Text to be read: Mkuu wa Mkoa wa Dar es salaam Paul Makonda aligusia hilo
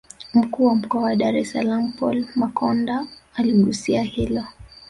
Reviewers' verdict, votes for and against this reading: rejected, 1, 2